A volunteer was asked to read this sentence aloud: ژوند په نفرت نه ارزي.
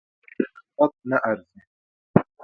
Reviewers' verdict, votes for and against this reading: rejected, 0, 2